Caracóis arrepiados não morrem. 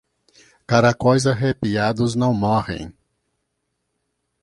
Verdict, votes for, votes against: accepted, 2, 0